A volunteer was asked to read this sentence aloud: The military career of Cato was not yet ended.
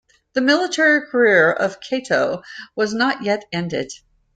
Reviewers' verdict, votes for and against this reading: accepted, 2, 0